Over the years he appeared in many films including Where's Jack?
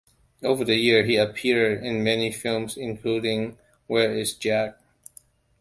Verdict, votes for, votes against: rejected, 1, 2